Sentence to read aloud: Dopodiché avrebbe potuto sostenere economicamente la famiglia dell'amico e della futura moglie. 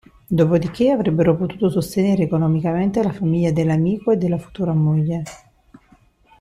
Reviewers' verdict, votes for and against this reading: rejected, 0, 2